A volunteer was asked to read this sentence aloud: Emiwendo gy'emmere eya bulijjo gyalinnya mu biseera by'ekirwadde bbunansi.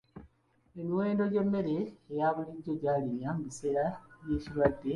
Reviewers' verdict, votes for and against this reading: rejected, 0, 2